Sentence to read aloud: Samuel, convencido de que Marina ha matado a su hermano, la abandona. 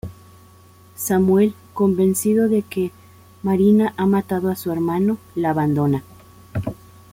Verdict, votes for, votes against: accepted, 2, 0